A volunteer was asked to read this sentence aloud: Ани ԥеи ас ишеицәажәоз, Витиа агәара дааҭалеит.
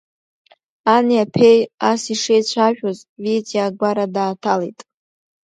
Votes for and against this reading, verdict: 1, 2, rejected